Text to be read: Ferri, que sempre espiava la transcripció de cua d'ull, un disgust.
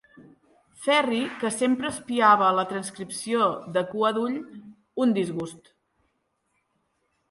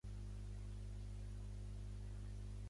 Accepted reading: first